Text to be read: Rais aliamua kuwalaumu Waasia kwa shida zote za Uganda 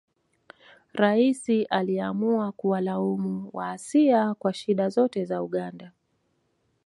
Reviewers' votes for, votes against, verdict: 2, 0, accepted